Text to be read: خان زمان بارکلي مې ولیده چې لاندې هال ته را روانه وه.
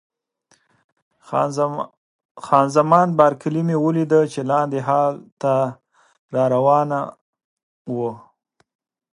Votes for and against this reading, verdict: 0, 2, rejected